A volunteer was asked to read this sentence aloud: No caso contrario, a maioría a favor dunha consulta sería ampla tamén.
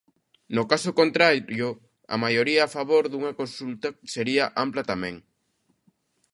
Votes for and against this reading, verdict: 0, 2, rejected